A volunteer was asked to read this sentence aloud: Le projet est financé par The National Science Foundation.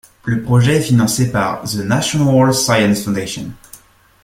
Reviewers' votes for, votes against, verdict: 2, 0, accepted